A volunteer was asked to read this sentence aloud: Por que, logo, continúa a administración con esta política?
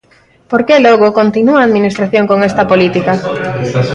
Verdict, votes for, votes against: accepted, 2, 1